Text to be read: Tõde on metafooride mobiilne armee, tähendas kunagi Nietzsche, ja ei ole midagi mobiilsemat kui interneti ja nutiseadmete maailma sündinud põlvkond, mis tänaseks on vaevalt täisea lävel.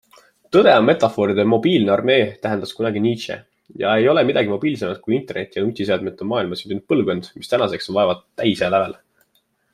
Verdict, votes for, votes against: accepted, 2, 0